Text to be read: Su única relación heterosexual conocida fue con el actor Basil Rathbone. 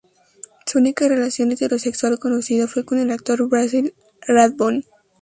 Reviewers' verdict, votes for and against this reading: rejected, 2, 2